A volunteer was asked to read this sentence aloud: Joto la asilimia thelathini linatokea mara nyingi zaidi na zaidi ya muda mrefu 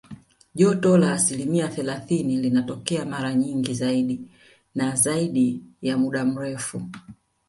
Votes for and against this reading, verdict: 0, 2, rejected